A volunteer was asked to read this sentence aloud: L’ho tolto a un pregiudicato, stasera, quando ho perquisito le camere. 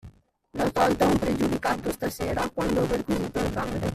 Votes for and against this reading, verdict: 1, 2, rejected